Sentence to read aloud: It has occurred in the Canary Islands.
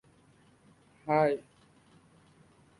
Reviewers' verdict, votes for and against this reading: rejected, 0, 2